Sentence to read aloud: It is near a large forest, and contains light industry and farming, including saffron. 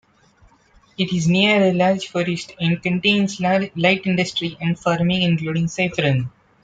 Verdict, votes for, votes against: rejected, 0, 2